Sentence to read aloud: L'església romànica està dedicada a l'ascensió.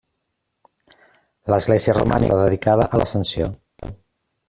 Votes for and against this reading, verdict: 0, 2, rejected